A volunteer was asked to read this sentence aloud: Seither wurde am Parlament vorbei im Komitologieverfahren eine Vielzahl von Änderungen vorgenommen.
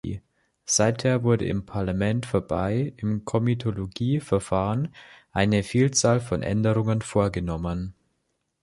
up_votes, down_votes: 1, 2